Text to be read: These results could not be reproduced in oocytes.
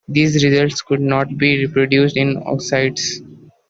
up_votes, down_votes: 2, 0